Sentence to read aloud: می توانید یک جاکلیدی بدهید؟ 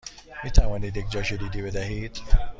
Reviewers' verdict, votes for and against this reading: accepted, 2, 0